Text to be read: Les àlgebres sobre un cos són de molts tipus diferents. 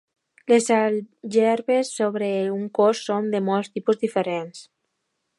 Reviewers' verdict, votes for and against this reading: accepted, 2, 0